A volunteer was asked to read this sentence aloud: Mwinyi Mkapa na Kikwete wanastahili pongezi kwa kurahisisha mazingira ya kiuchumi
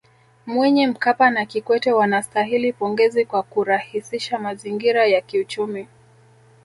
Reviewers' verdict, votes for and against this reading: accepted, 2, 0